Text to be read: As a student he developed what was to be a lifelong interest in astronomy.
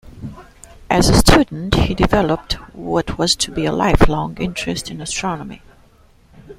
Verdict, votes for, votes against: rejected, 1, 2